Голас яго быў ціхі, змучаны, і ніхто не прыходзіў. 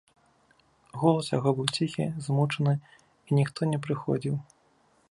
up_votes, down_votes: 3, 0